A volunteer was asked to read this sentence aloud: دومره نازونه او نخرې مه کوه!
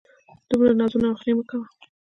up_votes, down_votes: 1, 2